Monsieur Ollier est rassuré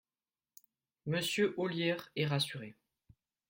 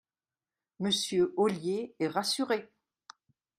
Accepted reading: second